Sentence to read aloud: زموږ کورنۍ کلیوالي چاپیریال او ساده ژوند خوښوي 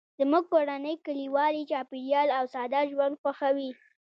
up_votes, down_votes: 2, 0